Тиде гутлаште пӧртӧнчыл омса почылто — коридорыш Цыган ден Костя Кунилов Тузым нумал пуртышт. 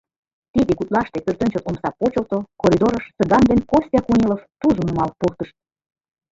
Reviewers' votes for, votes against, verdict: 2, 3, rejected